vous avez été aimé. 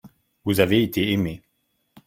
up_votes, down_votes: 2, 0